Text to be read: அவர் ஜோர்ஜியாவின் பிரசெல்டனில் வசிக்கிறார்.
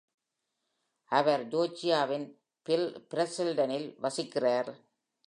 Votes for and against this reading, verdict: 1, 2, rejected